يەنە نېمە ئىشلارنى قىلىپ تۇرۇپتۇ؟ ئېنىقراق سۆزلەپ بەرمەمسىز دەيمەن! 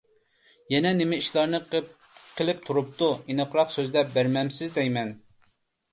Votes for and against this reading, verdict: 1, 2, rejected